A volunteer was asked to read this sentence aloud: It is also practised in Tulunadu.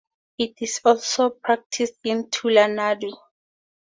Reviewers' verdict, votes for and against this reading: accepted, 2, 0